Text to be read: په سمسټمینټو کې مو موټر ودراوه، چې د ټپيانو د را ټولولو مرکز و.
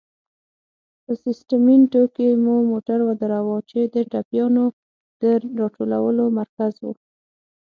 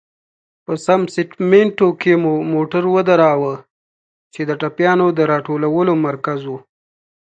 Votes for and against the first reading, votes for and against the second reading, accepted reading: 3, 6, 2, 0, second